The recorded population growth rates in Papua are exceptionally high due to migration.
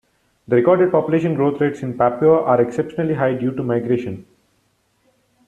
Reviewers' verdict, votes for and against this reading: rejected, 1, 2